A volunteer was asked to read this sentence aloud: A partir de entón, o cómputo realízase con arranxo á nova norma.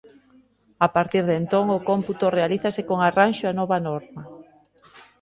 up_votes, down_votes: 2, 0